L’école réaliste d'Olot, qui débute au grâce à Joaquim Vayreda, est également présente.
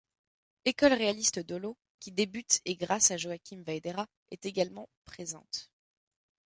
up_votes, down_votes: 1, 2